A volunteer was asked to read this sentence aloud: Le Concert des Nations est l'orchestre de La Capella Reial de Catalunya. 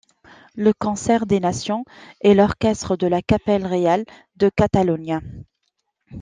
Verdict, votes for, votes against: accepted, 2, 1